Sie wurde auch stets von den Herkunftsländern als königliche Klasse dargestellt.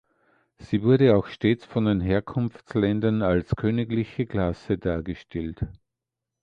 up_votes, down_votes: 2, 1